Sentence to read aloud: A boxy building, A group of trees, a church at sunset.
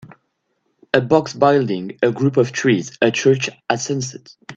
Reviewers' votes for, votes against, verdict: 1, 2, rejected